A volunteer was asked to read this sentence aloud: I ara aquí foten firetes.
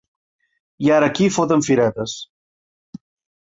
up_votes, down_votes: 3, 0